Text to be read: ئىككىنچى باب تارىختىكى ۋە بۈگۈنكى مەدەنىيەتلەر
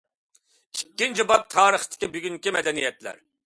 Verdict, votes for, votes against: accepted, 2, 0